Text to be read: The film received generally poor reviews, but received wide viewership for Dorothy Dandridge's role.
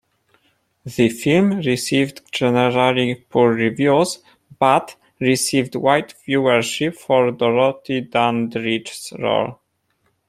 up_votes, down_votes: 0, 2